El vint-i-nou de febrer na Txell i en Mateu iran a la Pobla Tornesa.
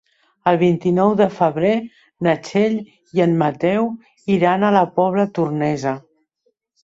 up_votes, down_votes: 3, 0